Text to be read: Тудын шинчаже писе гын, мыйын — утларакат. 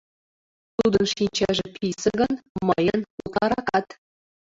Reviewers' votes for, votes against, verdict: 1, 2, rejected